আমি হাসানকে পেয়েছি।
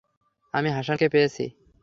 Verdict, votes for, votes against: accepted, 3, 0